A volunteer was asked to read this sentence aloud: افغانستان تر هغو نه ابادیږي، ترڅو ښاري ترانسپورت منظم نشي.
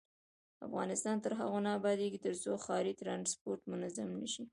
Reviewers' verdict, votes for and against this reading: rejected, 1, 2